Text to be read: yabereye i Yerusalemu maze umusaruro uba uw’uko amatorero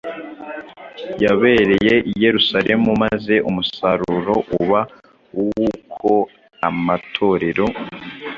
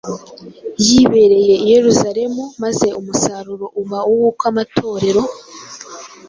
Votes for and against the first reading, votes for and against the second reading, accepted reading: 2, 0, 1, 2, first